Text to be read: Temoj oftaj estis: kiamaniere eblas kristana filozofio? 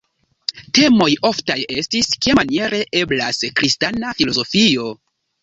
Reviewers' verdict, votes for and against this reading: rejected, 1, 2